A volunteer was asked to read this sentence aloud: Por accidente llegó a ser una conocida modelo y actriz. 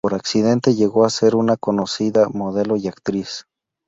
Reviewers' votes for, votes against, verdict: 2, 0, accepted